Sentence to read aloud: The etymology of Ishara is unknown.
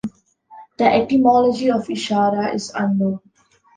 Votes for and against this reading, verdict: 2, 0, accepted